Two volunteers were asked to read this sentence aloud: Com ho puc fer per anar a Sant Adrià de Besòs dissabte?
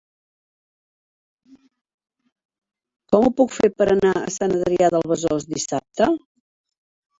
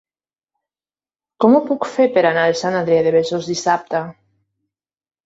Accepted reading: second